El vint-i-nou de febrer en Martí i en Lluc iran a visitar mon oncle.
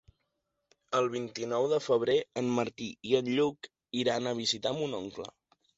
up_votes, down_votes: 3, 0